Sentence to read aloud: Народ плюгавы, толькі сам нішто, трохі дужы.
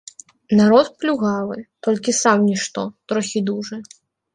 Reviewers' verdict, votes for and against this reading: accepted, 3, 0